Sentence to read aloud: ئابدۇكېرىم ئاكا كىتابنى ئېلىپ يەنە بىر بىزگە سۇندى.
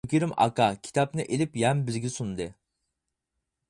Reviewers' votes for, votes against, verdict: 0, 4, rejected